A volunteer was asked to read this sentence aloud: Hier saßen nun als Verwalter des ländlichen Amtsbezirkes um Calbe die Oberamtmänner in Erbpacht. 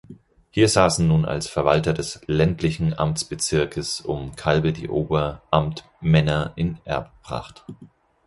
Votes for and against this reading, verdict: 2, 4, rejected